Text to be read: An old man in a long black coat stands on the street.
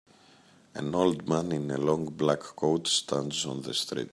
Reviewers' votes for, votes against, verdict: 2, 0, accepted